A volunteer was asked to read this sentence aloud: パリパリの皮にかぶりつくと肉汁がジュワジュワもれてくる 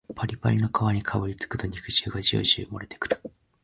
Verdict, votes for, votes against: accepted, 4, 2